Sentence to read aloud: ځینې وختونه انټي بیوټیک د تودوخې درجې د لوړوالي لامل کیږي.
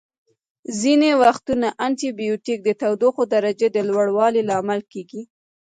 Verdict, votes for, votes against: accepted, 2, 0